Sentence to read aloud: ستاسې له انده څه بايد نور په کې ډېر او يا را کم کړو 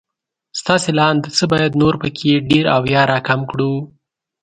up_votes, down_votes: 2, 0